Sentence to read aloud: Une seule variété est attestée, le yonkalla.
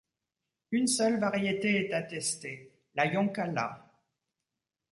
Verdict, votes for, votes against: rejected, 1, 2